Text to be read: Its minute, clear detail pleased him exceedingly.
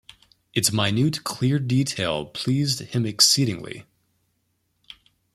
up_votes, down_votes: 2, 0